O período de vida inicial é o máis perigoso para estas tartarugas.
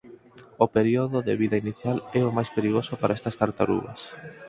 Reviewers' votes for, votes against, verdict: 4, 0, accepted